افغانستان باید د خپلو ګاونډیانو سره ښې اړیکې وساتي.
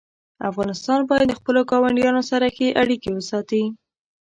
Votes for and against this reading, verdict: 3, 0, accepted